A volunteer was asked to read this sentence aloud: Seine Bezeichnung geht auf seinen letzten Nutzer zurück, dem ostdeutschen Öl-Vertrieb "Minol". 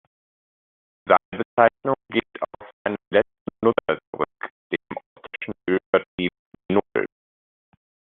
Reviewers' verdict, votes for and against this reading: rejected, 0, 2